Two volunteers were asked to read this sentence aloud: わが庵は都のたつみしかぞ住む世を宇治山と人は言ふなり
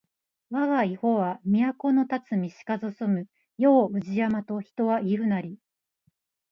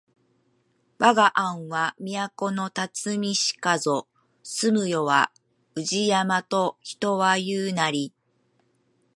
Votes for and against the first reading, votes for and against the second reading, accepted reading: 1, 2, 2, 1, second